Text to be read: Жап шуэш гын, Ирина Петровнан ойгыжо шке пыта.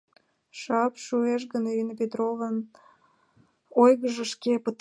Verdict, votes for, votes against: rejected, 0, 2